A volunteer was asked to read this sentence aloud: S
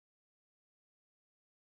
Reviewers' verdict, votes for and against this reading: rejected, 1, 2